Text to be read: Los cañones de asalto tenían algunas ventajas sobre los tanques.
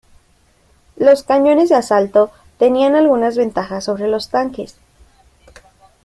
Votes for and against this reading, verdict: 2, 0, accepted